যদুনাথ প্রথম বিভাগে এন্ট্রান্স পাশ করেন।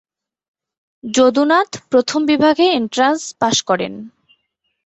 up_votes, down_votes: 3, 0